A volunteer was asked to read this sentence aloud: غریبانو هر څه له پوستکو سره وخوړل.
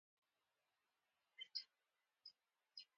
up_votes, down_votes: 1, 2